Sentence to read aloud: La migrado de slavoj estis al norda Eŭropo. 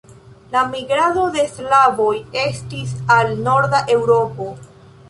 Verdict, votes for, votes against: rejected, 1, 2